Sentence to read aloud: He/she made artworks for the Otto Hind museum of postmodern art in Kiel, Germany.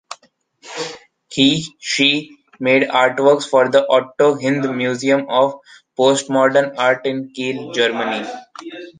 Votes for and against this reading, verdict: 2, 0, accepted